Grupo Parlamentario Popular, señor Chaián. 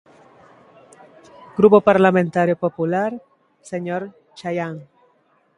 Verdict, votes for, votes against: accepted, 2, 0